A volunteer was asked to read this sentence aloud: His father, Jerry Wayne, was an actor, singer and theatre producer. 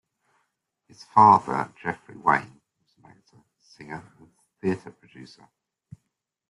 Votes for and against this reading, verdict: 0, 2, rejected